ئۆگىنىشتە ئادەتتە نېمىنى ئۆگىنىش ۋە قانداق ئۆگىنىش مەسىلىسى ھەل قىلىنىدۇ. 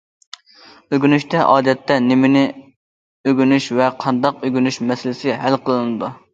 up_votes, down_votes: 2, 0